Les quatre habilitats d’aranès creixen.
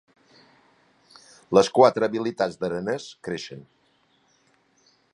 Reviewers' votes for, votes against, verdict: 2, 0, accepted